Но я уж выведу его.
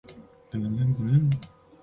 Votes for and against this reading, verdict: 0, 2, rejected